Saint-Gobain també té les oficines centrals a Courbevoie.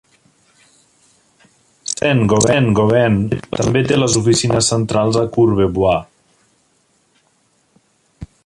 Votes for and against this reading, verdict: 0, 2, rejected